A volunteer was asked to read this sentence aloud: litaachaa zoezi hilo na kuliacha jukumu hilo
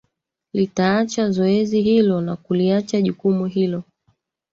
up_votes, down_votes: 2, 1